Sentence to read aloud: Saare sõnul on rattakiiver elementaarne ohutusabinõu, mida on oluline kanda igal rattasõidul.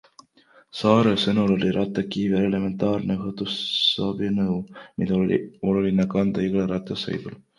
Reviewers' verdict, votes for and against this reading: rejected, 1, 2